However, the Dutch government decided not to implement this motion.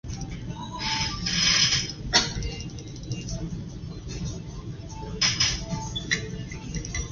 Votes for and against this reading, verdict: 0, 2, rejected